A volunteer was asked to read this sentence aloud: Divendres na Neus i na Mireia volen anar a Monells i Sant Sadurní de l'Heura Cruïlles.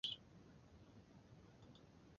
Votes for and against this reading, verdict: 0, 2, rejected